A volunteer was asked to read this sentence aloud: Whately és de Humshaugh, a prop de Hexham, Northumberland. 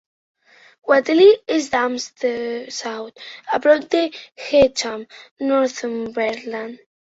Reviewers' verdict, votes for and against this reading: rejected, 0, 3